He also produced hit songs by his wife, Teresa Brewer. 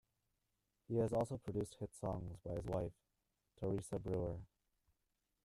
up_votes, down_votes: 1, 2